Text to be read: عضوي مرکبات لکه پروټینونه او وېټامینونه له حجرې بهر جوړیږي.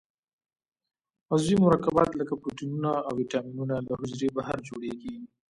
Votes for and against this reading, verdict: 1, 2, rejected